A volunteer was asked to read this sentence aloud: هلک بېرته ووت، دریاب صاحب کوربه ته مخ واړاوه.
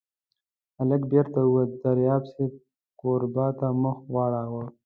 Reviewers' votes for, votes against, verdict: 2, 1, accepted